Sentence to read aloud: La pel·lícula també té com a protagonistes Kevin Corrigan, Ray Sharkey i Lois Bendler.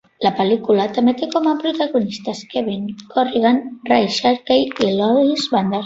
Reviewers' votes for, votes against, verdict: 2, 0, accepted